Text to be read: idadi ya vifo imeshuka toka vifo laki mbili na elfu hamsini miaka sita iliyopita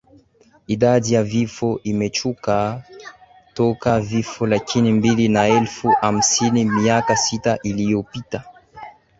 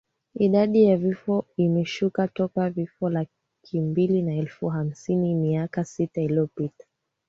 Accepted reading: second